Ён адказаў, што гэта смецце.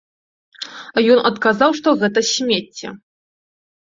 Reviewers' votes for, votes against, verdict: 2, 0, accepted